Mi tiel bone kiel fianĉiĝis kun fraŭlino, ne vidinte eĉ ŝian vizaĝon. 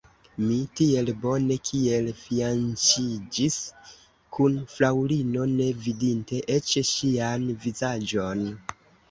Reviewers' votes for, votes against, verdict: 2, 0, accepted